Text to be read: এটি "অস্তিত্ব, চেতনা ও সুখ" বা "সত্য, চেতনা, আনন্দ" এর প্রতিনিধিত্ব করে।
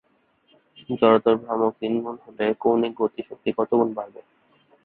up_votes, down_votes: 0, 5